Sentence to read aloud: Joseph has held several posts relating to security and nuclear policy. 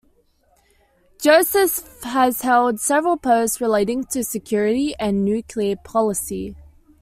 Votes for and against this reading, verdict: 2, 0, accepted